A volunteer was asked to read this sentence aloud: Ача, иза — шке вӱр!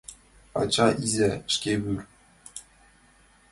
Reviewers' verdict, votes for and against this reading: accepted, 2, 1